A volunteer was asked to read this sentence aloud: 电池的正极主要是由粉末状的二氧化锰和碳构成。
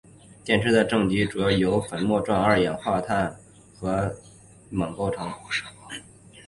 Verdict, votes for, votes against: rejected, 1, 2